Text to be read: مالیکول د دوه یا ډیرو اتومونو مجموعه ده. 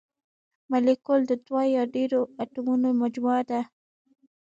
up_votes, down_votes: 2, 0